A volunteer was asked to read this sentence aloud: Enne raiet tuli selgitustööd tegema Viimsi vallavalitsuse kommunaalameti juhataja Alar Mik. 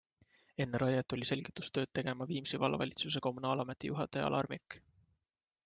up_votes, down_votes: 2, 0